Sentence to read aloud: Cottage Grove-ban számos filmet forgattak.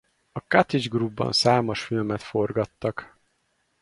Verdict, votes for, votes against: rejected, 2, 2